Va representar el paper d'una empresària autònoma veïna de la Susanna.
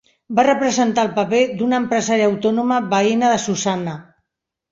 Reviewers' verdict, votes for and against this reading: rejected, 0, 2